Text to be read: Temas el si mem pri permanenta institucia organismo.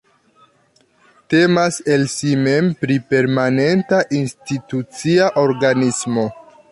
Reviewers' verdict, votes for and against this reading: accepted, 2, 0